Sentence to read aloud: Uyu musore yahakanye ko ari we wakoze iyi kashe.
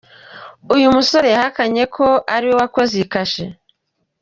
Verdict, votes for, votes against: accepted, 2, 1